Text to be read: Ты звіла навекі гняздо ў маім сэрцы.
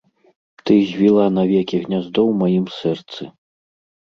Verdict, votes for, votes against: rejected, 1, 2